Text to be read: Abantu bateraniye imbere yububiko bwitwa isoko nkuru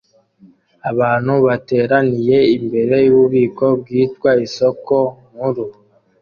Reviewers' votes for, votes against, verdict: 2, 0, accepted